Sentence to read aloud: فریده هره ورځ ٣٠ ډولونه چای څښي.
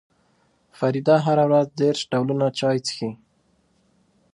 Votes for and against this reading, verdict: 0, 2, rejected